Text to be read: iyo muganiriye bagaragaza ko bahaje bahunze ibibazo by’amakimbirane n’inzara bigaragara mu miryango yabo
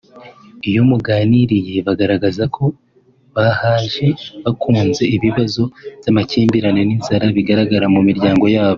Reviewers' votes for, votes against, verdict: 0, 2, rejected